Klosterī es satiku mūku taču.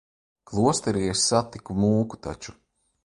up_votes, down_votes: 2, 0